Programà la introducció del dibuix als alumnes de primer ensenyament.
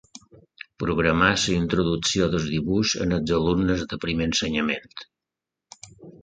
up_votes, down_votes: 2, 1